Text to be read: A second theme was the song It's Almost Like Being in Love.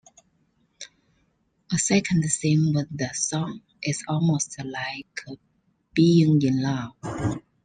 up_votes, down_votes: 2, 1